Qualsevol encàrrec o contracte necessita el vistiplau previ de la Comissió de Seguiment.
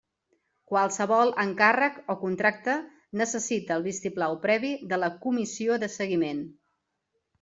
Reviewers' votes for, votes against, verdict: 2, 0, accepted